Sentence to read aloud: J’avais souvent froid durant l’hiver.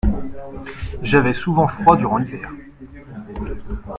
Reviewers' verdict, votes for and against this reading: accepted, 2, 0